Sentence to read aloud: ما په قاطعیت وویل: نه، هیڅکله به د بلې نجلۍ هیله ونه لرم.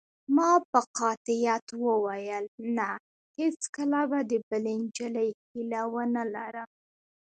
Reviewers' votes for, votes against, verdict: 0, 2, rejected